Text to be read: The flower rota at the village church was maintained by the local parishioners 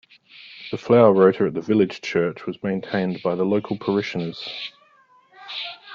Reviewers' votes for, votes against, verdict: 2, 0, accepted